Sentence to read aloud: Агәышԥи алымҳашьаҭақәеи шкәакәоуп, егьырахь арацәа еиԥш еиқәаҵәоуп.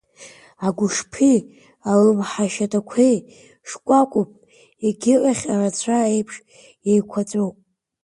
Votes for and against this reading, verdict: 0, 2, rejected